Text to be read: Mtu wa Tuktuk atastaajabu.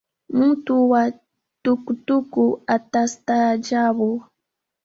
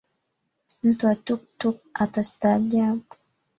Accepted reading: second